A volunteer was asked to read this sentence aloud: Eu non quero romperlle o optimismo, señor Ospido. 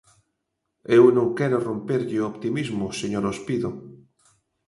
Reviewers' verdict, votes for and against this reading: accepted, 2, 0